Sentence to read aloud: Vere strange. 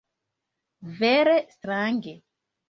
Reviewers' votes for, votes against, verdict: 1, 2, rejected